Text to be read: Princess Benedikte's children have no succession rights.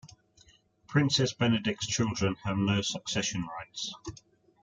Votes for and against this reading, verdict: 1, 2, rejected